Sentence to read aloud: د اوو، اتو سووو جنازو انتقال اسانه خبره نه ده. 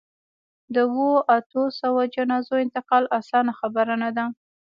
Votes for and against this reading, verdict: 3, 1, accepted